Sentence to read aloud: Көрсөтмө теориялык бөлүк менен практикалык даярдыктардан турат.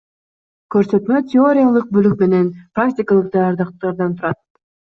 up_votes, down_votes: 2, 0